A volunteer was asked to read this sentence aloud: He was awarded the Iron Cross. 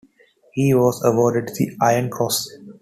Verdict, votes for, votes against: accepted, 2, 0